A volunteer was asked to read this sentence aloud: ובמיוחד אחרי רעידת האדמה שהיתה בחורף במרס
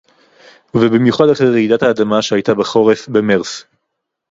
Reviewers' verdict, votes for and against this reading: rejected, 2, 2